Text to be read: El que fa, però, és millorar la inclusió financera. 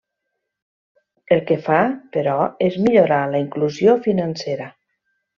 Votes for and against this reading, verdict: 3, 0, accepted